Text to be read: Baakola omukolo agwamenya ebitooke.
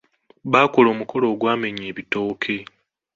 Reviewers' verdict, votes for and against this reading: accepted, 2, 0